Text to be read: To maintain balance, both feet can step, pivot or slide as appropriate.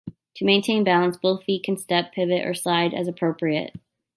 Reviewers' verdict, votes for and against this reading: accepted, 2, 1